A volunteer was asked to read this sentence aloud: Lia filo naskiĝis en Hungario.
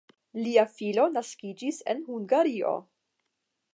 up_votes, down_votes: 10, 0